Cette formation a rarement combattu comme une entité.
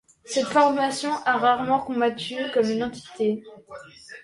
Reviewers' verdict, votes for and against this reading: accepted, 2, 0